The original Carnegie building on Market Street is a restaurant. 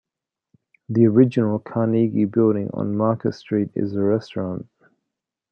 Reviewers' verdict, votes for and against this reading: accepted, 2, 0